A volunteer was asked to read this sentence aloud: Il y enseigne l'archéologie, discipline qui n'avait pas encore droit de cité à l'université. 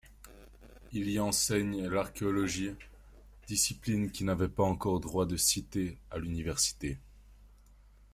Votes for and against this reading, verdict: 2, 0, accepted